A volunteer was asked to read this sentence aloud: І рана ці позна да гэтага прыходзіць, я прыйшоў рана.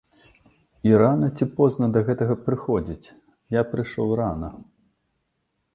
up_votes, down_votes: 2, 0